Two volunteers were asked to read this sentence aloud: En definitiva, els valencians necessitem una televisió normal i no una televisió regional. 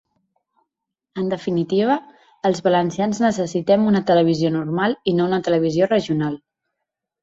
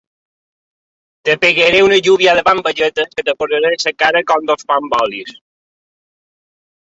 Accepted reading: first